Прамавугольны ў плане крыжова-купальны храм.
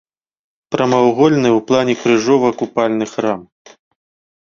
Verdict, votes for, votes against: rejected, 0, 2